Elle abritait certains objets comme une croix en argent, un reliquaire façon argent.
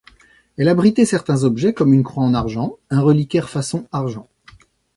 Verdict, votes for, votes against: accepted, 2, 0